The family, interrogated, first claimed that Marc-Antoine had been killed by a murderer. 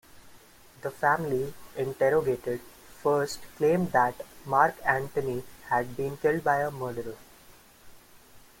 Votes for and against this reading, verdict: 3, 0, accepted